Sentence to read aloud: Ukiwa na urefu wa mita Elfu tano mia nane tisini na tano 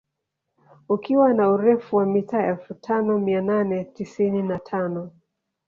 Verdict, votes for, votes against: accepted, 2, 0